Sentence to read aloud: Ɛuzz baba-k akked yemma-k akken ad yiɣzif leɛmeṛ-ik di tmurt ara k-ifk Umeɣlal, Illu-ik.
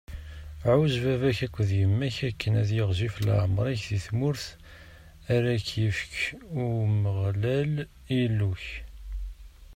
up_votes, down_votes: 0, 2